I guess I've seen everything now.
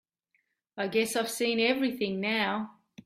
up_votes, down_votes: 2, 0